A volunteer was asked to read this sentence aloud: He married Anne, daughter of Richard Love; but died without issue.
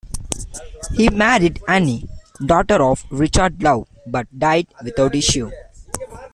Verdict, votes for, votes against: accepted, 2, 1